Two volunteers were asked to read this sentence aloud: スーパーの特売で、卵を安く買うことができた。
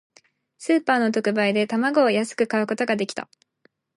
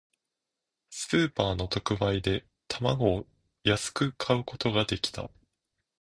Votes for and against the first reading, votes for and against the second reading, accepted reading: 0, 2, 2, 0, second